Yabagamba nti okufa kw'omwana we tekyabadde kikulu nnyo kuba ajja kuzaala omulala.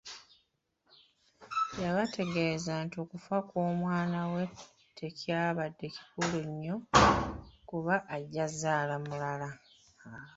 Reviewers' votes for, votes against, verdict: 0, 2, rejected